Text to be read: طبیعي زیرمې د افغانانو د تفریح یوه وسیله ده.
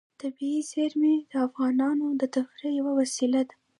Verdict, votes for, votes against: rejected, 0, 2